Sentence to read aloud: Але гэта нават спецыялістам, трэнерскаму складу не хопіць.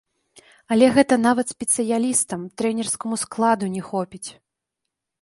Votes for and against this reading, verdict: 2, 3, rejected